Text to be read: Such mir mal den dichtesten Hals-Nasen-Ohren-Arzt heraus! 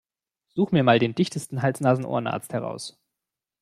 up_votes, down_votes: 2, 0